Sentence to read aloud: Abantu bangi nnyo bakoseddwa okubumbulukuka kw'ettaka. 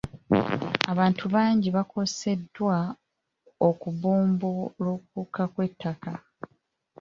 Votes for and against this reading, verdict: 2, 0, accepted